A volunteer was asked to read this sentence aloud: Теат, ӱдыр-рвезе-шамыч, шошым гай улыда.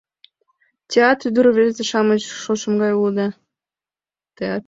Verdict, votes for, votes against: rejected, 1, 3